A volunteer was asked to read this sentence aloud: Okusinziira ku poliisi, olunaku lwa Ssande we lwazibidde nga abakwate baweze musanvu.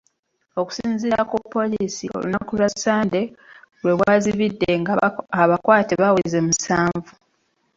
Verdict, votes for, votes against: accepted, 2, 1